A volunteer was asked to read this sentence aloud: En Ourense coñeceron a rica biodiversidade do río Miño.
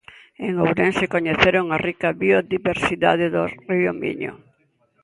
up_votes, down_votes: 2, 0